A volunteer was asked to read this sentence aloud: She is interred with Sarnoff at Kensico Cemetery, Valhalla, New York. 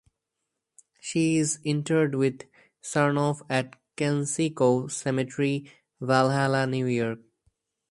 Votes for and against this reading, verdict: 2, 2, rejected